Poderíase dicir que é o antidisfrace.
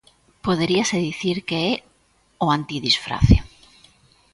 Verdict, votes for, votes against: accepted, 2, 0